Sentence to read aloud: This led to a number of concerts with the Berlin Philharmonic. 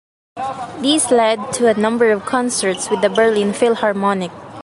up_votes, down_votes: 1, 2